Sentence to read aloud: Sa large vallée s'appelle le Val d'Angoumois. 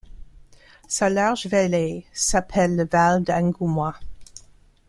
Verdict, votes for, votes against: accepted, 2, 0